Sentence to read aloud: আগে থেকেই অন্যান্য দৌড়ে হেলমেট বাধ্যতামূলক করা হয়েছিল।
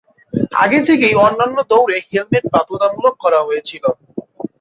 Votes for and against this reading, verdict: 2, 0, accepted